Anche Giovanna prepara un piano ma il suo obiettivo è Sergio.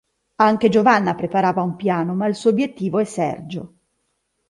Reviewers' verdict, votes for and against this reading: rejected, 0, 2